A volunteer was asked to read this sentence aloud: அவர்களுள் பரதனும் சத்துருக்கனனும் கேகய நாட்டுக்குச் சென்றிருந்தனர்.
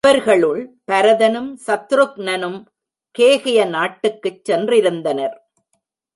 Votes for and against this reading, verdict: 0, 2, rejected